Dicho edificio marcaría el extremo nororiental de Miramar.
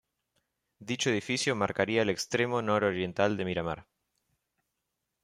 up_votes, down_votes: 2, 0